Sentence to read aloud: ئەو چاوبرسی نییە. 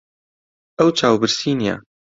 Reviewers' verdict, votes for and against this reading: accepted, 2, 0